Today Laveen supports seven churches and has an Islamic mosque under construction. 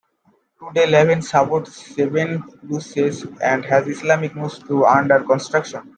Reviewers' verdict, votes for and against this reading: rejected, 1, 2